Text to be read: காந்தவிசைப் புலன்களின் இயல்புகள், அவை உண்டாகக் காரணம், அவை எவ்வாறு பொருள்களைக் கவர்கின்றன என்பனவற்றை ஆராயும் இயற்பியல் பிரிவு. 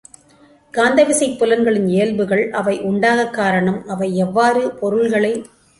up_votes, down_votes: 0, 2